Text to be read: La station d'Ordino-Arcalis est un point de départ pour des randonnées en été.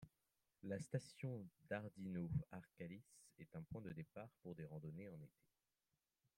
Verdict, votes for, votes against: rejected, 1, 2